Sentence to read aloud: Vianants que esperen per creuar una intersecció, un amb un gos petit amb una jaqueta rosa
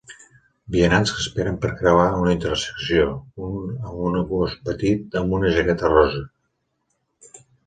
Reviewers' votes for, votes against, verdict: 3, 2, accepted